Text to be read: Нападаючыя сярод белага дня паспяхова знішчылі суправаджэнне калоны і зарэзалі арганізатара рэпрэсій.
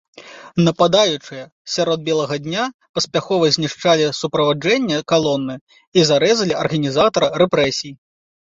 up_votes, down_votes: 0, 2